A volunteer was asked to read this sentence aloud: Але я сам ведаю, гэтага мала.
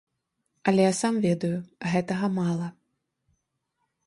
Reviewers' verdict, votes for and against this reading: accepted, 2, 0